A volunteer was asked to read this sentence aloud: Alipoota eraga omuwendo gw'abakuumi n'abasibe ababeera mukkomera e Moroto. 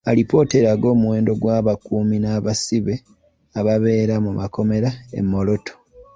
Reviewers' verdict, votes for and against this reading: accepted, 2, 1